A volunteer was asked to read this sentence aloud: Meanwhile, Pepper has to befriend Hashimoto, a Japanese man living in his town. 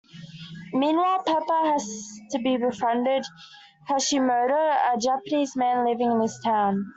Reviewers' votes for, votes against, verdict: 0, 2, rejected